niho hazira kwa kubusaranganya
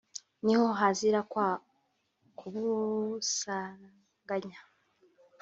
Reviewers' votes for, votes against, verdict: 1, 2, rejected